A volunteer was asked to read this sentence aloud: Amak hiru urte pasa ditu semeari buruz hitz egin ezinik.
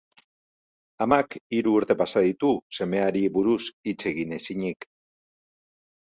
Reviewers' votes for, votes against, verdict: 2, 0, accepted